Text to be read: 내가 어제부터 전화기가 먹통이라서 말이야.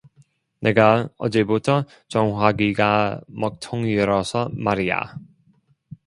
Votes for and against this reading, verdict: 1, 2, rejected